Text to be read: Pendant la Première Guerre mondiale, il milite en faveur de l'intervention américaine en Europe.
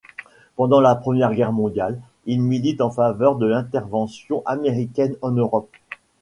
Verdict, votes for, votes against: accepted, 2, 0